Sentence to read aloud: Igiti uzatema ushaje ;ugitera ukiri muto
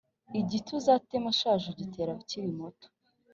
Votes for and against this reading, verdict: 3, 0, accepted